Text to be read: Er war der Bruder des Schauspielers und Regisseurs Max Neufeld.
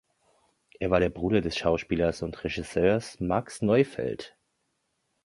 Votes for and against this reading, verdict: 2, 0, accepted